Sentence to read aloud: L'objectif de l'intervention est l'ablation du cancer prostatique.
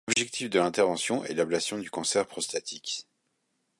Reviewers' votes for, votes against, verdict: 2, 1, accepted